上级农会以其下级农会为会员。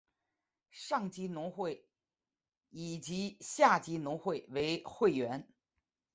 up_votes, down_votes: 1, 2